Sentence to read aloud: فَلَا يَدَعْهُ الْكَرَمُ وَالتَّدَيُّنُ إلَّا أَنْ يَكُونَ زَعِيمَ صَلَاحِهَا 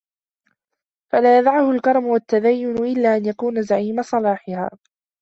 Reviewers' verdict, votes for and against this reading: accepted, 2, 1